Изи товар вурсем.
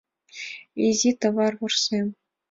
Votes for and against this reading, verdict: 2, 0, accepted